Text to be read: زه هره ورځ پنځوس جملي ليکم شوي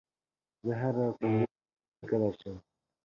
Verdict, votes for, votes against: rejected, 0, 2